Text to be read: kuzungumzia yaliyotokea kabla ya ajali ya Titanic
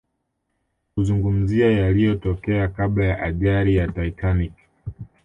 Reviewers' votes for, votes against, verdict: 2, 0, accepted